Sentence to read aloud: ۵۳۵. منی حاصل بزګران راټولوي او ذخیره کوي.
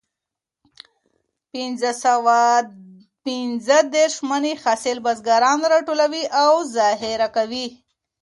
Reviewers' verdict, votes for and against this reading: rejected, 0, 2